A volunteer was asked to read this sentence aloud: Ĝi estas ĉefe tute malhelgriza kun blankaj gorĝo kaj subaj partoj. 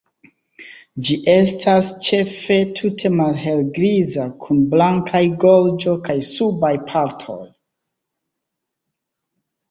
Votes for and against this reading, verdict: 1, 2, rejected